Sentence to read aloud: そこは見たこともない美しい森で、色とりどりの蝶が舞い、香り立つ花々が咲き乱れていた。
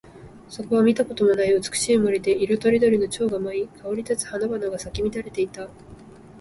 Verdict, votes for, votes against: accepted, 3, 0